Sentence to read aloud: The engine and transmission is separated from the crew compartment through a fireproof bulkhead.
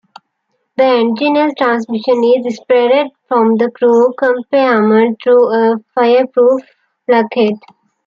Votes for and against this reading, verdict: 0, 2, rejected